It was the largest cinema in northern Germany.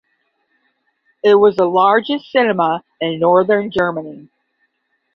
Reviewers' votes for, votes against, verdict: 10, 0, accepted